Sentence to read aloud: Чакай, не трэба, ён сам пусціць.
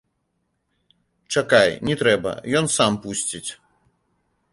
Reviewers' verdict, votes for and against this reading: accepted, 3, 0